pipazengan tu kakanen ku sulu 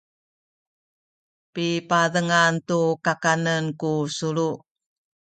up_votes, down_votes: 2, 0